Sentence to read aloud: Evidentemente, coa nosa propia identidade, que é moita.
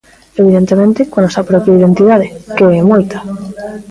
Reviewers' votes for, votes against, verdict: 0, 2, rejected